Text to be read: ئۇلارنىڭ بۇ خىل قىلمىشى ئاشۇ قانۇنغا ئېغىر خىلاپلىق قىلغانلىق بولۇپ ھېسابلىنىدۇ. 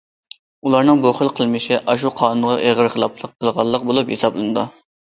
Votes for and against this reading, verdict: 2, 0, accepted